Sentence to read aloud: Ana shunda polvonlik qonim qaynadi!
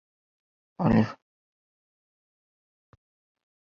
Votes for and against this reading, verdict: 0, 2, rejected